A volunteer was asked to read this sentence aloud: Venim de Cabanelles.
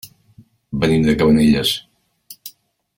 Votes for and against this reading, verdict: 2, 0, accepted